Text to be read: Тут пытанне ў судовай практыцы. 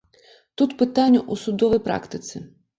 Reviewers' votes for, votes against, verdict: 1, 2, rejected